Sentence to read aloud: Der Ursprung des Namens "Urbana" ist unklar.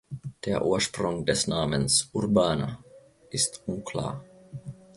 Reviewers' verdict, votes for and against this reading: accepted, 2, 0